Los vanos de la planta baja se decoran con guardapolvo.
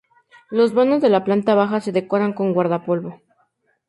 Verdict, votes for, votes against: accepted, 4, 0